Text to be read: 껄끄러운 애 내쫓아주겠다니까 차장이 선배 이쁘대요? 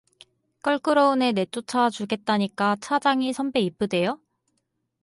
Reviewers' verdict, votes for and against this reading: accepted, 4, 0